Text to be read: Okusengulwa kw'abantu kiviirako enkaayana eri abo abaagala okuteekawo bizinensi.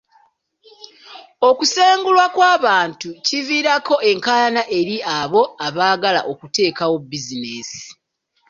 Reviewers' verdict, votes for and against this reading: accepted, 2, 0